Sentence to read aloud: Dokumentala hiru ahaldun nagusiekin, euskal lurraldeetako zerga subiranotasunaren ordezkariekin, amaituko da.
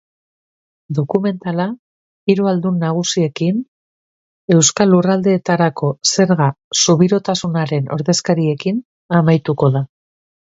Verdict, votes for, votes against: rejected, 0, 2